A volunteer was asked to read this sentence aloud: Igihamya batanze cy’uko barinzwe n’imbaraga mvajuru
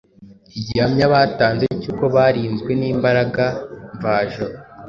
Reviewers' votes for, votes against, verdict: 2, 0, accepted